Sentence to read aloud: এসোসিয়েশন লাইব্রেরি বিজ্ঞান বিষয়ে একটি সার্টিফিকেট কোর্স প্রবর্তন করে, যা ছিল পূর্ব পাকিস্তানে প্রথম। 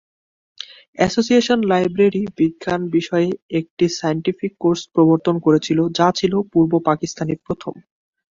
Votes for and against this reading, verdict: 0, 2, rejected